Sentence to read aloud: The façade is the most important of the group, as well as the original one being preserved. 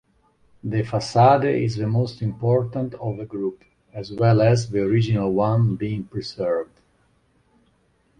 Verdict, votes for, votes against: rejected, 1, 2